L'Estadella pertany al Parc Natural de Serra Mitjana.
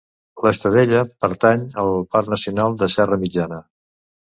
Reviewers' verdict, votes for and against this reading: rejected, 1, 2